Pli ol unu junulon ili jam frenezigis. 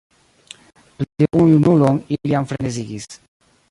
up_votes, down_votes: 0, 2